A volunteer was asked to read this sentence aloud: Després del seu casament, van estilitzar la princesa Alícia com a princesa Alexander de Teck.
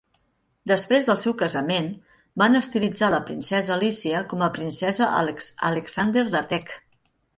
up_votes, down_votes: 1, 2